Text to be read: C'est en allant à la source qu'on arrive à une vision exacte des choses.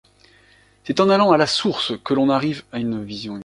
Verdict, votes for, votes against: rejected, 0, 2